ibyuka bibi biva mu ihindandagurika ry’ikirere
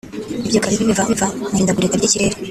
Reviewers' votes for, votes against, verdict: 2, 4, rejected